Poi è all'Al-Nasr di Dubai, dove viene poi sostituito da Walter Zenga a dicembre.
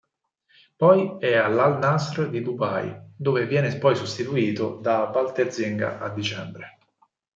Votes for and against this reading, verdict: 4, 0, accepted